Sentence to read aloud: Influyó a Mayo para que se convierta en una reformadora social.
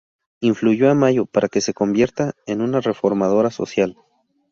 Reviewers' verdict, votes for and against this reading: accepted, 4, 0